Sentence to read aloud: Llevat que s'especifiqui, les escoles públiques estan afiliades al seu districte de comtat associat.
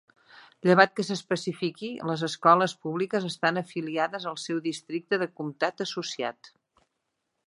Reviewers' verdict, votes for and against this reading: accepted, 3, 0